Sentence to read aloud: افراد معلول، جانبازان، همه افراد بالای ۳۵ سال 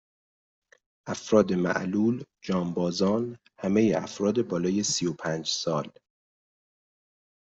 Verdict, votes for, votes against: rejected, 0, 2